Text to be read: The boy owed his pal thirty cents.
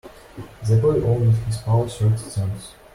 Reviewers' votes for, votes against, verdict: 2, 0, accepted